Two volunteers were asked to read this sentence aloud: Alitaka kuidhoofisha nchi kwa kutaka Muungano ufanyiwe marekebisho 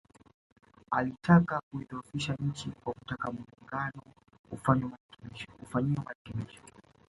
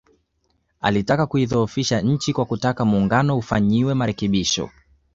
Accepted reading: second